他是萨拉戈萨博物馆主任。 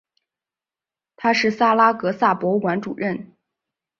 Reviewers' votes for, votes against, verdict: 3, 0, accepted